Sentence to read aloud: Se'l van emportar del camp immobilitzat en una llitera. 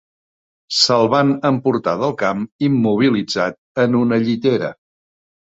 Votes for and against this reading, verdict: 3, 0, accepted